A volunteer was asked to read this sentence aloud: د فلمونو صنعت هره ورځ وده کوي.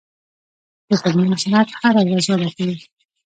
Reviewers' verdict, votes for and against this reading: rejected, 1, 2